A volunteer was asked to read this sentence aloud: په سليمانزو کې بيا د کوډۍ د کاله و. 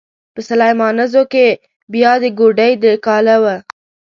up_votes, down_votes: 1, 2